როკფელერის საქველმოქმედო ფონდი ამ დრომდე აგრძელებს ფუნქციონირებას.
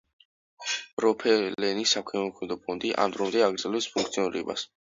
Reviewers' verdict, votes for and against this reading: rejected, 0, 2